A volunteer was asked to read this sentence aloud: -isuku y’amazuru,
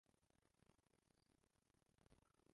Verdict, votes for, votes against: rejected, 0, 2